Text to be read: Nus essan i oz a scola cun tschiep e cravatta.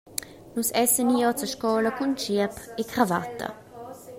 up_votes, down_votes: 2, 0